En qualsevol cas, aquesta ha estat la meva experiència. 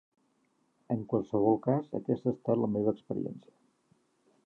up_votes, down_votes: 3, 0